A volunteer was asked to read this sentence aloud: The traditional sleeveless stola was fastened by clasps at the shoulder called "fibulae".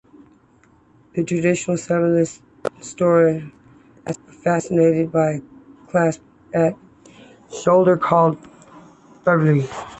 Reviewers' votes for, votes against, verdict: 1, 3, rejected